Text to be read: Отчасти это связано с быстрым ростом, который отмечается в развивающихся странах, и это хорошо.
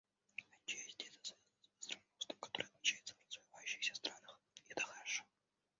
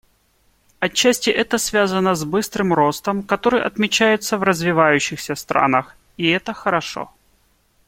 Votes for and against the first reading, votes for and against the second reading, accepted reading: 1, 2, 2, 0, second